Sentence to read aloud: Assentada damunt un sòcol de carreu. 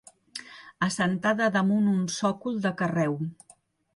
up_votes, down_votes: 3, 0